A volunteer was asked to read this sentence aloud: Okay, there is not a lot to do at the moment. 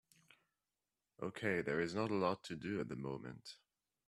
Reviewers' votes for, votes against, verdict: 2, 0, accepted